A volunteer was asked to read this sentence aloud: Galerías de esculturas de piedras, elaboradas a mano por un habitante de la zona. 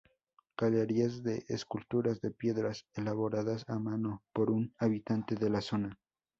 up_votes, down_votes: 4, 0